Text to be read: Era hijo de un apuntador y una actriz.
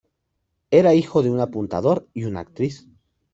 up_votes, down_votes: 2, 0